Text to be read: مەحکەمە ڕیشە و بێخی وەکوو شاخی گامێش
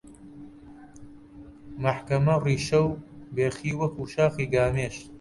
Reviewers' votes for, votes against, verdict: 2, 0, accepted